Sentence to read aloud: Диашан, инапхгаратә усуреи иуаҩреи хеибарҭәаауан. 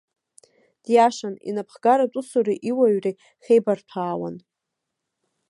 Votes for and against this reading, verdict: 2, 0, accepted